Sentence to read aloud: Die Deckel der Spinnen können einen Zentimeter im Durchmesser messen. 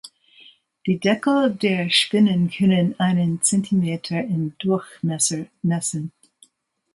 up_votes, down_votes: 2, 0